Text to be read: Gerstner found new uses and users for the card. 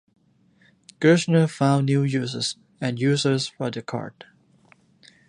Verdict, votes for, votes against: accepted, 2, 0